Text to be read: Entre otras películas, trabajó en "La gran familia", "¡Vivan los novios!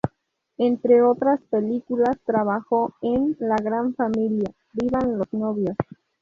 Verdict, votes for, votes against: accepted, 2, 0